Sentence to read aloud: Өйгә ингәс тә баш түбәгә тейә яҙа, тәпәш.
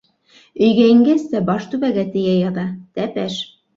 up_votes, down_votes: 2, 0